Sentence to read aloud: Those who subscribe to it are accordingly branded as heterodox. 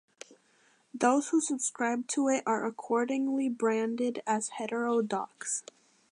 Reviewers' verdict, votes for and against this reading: accepted, 2, 0